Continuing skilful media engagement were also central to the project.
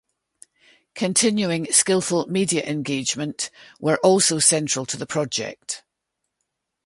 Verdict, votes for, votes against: accepted, 2, 0